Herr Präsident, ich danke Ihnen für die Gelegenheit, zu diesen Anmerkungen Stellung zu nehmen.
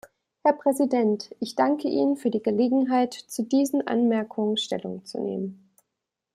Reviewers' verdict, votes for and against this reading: accepted, 2, 0